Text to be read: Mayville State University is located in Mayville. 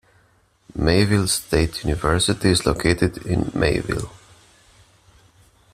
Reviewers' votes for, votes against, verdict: 2, 0, accepted